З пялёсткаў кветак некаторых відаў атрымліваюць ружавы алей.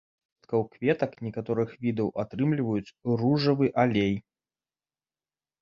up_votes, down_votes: 1, 2